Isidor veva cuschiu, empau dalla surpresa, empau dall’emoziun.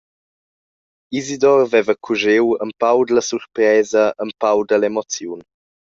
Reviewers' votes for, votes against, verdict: 1, 2, rejected